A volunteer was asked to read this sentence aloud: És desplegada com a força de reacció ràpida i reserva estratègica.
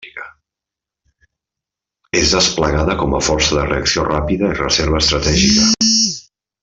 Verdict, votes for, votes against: rejected, 1, 2